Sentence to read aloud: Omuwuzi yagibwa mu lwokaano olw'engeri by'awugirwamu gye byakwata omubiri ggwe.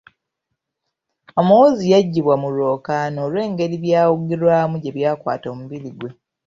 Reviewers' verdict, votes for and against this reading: accepted, 2, 1